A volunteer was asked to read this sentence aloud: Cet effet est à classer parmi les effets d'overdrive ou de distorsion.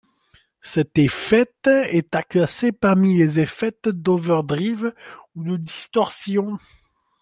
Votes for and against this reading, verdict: 2, 0, accepted